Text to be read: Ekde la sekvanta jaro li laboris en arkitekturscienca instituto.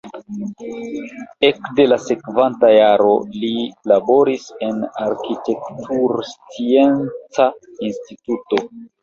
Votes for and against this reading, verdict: 1, 2, rejected